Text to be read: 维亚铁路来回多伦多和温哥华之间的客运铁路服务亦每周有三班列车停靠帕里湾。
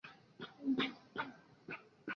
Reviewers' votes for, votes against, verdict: 0, 2, rejected